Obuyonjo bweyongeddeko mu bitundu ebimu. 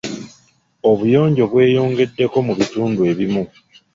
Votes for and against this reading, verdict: 1, 2, rejected